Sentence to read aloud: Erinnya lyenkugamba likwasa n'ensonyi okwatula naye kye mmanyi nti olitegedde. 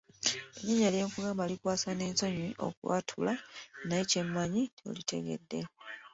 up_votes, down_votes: 2, 0